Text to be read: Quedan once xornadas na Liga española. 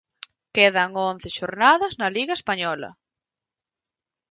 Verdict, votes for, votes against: accepted, 4, 0